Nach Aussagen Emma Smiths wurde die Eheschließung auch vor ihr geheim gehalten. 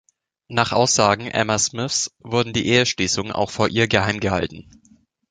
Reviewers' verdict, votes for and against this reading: rejected, 0, 2